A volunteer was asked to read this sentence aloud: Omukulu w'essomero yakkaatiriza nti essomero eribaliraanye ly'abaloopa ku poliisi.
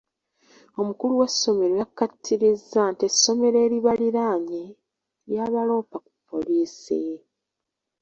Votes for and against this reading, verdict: 1, 3, rejected